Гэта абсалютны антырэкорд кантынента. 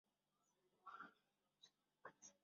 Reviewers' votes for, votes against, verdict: 0, 2, rejected